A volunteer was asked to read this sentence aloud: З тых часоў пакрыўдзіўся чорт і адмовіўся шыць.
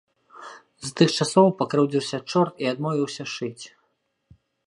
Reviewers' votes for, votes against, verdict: 3, 1, accepted